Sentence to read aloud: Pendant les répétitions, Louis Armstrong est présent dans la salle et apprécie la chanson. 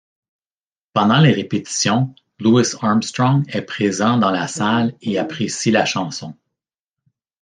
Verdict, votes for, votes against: accepted, 2, 0